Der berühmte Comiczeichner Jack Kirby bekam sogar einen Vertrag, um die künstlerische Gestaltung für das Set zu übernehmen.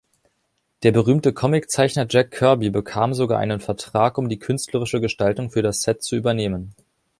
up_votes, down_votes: 4, 1